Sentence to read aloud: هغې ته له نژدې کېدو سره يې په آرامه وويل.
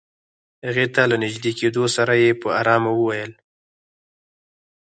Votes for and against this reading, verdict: 2, 4, rejected